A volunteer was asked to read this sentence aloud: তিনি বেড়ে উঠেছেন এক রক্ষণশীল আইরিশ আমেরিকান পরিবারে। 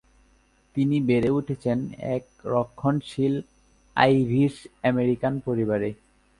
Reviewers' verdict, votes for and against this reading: rejected, 1, 2